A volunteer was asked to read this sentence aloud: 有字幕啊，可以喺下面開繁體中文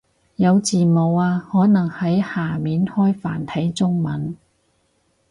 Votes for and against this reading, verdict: 2, 2, rejected